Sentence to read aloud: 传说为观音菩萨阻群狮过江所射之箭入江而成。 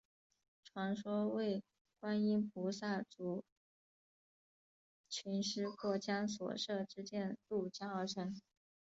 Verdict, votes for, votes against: rejected, 0, 2